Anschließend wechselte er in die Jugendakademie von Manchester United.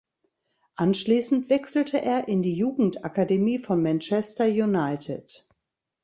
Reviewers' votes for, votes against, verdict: 2, 0, accepted